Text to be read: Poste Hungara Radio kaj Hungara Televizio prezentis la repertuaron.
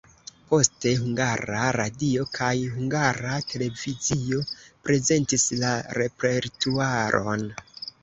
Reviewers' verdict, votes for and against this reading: accepted, 2, 0